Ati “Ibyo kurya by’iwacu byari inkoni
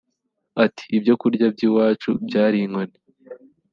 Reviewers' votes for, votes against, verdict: 3, 0, accepted